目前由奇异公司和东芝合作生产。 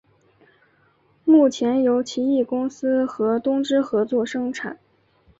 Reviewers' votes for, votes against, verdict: 4, 0, accepted